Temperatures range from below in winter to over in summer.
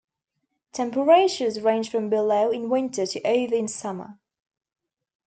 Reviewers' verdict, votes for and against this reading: rejected, 1, 2